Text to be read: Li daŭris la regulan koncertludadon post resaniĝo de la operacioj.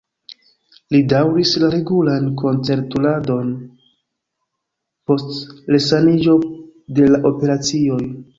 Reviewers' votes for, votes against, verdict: 0, 2, rejected